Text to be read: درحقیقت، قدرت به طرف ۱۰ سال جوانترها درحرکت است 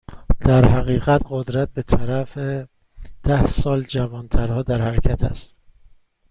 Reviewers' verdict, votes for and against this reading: rejected, 0, 2